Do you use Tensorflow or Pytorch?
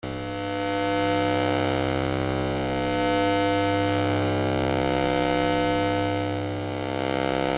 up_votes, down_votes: 0, 2